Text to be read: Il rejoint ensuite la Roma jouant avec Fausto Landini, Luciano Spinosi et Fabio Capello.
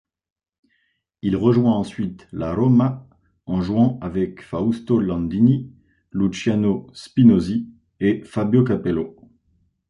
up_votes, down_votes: 2, 1